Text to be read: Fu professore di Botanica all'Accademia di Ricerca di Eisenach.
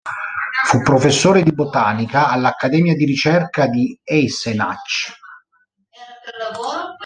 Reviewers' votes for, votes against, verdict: 0, 2, rejected